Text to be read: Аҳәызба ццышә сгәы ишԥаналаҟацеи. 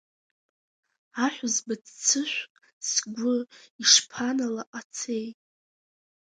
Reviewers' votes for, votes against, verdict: 2, 0, accepted